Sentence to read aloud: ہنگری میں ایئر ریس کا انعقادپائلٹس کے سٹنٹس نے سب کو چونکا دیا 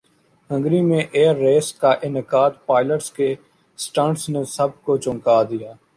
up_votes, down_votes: 2, 0